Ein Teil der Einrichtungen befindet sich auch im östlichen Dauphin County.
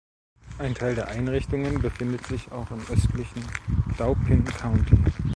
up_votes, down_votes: 0, 2